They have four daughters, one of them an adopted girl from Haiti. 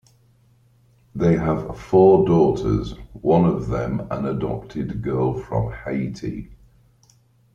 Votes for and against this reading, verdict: 2, 0, accepted